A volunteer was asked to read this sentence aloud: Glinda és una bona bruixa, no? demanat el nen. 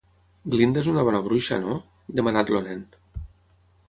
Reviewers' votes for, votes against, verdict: 3, 6, rejected